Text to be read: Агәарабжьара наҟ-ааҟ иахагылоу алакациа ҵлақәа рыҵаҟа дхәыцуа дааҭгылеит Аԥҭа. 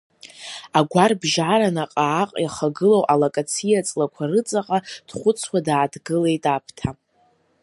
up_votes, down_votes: 2, 0